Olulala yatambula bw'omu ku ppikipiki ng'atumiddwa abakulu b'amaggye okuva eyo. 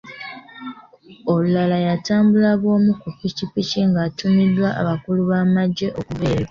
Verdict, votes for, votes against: accepted, 2, 0